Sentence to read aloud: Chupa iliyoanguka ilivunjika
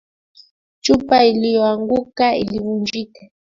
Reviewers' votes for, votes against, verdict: 2, 0, accepted